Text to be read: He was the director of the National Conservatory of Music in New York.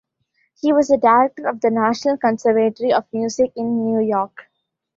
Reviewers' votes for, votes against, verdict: 0, 2, rejected